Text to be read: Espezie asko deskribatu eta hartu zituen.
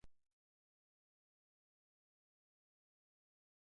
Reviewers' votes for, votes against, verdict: 0, 2, rejected